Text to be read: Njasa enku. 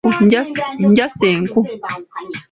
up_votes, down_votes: 2, 0